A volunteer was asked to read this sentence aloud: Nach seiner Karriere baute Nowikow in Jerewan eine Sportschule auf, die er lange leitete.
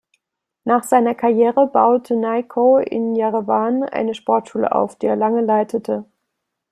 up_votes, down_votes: 0, 2